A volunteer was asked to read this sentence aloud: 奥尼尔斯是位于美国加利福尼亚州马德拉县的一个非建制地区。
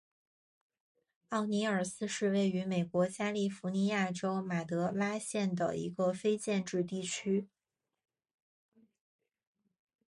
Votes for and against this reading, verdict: 3, 1, accepted